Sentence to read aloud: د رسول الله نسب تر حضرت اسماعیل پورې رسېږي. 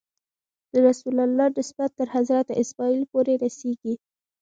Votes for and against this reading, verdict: 1, 2, rejected